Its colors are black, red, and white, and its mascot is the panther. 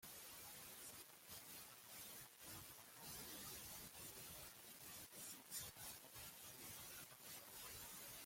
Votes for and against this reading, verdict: 0, 2, rejected